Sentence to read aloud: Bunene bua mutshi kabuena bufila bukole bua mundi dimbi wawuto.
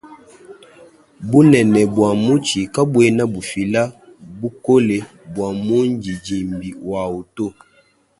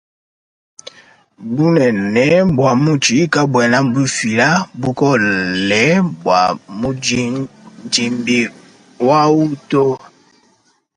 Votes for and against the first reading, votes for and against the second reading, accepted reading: 2, 0, 1, 2, first